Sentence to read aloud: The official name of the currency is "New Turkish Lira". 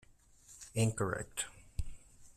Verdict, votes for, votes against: rejected, 0, 2